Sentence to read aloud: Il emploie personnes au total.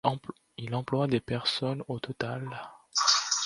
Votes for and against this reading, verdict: 0, 2, rejected